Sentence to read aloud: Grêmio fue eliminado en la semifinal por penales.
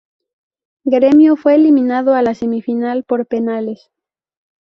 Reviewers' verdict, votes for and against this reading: rejected, 0, 2